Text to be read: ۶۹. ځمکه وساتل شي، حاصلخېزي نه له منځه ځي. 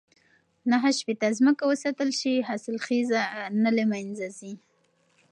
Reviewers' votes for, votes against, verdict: 0, 2, rejected